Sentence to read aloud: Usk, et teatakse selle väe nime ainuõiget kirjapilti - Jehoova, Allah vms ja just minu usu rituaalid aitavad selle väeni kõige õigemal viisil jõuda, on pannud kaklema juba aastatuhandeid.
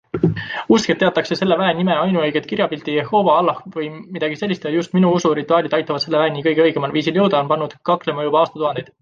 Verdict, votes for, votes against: accepted, 2, 0